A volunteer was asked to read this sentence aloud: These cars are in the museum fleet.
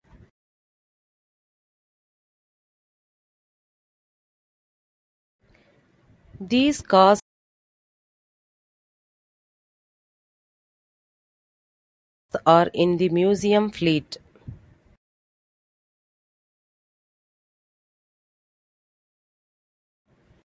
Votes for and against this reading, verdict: 0, 2, rejected